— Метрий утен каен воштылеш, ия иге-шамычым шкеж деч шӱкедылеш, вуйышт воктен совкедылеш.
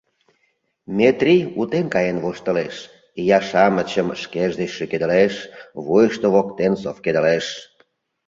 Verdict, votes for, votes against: rejected, 0, 2